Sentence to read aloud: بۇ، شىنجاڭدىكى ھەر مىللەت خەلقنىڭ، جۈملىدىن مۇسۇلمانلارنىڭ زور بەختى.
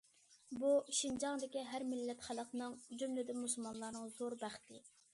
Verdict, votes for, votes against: accepted, 2, 0